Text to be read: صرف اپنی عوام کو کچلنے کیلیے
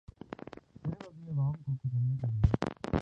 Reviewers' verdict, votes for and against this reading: rejected, 4, 4